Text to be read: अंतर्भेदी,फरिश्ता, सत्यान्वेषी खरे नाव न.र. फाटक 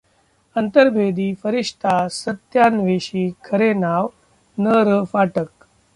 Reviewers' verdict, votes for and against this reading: rejected, 0, 2